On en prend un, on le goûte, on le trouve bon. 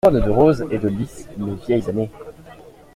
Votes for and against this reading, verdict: 0, 2, rejected